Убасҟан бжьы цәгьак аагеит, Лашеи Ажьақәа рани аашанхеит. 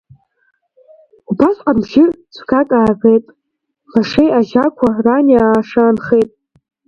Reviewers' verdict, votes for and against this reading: rejected, 1, 2